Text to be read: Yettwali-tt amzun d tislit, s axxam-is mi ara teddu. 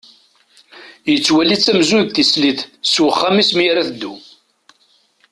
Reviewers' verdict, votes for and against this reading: rejected, 1, 2